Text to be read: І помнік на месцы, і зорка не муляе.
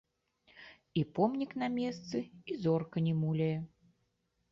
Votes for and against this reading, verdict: 0, 2, rejected